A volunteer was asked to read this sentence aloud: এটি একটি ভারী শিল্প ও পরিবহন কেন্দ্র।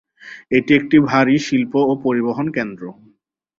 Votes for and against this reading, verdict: 8, 0, accepted